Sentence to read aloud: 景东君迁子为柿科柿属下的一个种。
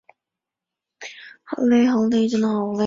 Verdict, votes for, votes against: rejected, 0, 3